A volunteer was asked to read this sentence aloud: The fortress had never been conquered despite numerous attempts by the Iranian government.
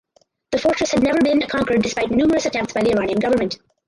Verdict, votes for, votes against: rejected, 0, 4